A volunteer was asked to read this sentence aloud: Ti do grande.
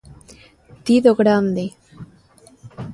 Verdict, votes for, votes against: accepted, 2, 0